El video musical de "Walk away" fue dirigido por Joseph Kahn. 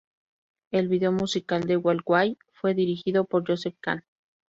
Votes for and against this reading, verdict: 2, 0, accepted